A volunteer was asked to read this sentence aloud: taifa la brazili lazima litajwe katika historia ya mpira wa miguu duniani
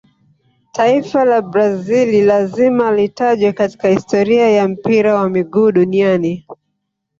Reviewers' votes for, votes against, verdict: 1, 2, rejected